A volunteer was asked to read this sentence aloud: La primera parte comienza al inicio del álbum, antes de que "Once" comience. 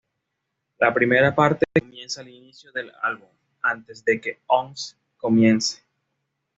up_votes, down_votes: 2, 0